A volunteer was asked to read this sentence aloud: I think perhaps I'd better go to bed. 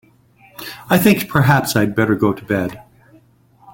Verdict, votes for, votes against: accepted, 2, 0